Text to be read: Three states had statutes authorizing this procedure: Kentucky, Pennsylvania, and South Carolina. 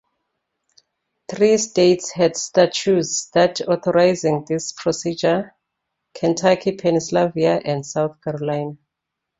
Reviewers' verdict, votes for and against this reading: rejected, 0, 2